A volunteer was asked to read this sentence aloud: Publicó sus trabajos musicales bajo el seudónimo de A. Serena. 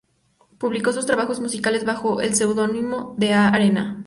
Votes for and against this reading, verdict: 0, 2, rejected